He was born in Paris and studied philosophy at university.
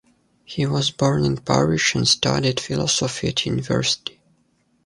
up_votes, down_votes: 2, 0